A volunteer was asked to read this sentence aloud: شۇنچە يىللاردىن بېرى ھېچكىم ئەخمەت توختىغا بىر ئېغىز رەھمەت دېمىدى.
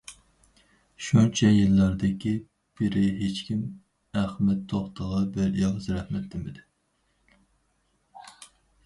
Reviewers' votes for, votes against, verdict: 0, 4, rejected